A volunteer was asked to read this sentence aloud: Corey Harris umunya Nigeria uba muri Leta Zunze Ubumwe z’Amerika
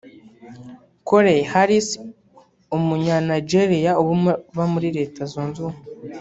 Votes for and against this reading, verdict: 1, 2, rejected